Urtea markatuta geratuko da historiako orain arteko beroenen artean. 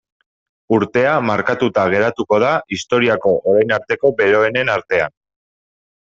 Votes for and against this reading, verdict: 2, 0, accepted